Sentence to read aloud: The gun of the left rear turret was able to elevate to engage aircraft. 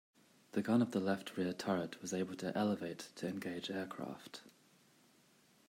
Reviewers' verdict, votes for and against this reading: rejected, 1, 2